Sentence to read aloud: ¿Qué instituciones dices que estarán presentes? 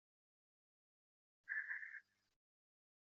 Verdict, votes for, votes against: rejected, 0, 2